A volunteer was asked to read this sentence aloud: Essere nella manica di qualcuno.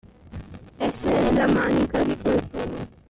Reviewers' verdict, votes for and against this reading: rejected, 0, 2